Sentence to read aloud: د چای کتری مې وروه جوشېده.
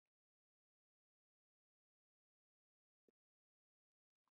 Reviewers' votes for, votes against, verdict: 0, 2, rejected